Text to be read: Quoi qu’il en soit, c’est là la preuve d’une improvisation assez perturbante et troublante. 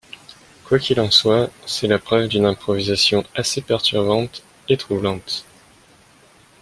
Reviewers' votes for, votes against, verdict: 1, 2, rejected